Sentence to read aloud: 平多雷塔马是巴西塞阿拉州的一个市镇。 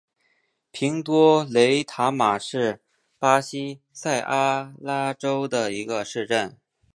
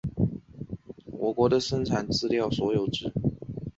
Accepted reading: first